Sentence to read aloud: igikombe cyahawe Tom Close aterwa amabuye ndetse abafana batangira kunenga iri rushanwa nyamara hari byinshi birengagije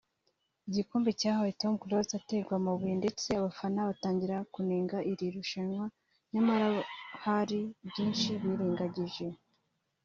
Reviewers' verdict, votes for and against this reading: accepted, 2, 0